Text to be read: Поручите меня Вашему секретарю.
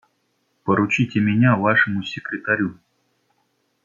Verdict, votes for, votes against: rejected, 0, 2